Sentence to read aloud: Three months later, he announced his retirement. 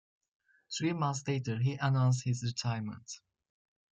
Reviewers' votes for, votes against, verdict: 2, 0, accepted